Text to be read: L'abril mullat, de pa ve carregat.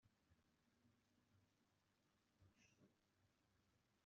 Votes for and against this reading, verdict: 0, 2, rejected